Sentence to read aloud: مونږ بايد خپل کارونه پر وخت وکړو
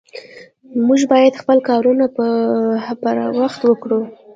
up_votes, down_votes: 2, 1